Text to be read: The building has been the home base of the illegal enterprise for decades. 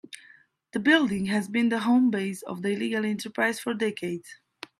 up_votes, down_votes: 3, 0